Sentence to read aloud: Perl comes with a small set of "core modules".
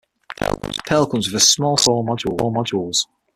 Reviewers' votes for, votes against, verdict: 0, 6, rejected